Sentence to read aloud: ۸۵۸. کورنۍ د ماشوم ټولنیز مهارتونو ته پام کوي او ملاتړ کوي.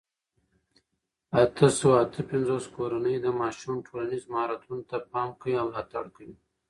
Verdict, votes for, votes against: rejected, 0, 2